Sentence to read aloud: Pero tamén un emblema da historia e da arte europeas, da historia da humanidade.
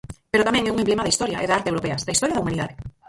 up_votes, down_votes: 0, 4